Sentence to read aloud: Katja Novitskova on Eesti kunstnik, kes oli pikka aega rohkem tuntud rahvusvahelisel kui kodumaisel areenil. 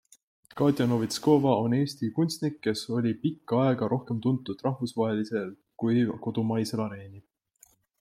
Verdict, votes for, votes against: accepted, 2, 0